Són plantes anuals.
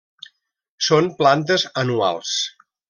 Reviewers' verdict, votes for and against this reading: accepted, 3, 0